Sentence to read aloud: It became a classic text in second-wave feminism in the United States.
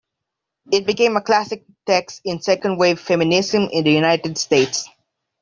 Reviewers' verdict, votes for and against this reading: accepted, 2, 1